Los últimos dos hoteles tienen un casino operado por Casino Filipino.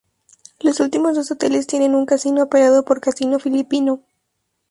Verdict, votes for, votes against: rejected, 0, 2